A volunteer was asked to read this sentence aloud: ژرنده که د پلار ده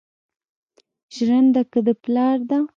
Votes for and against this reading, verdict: 0, 2, rejected